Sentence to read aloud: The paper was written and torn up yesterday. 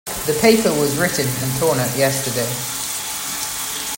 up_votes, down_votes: 2, 0